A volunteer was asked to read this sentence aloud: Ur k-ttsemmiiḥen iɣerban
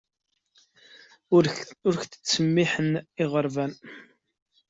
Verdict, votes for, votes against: rejected, 1, 2